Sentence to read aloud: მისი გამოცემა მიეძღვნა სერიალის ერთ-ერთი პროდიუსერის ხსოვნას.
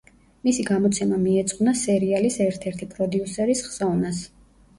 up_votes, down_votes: 1, 2